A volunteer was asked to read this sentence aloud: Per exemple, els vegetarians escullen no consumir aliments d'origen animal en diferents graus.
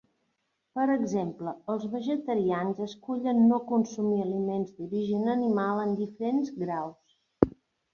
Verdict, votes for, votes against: accepted, 3, 0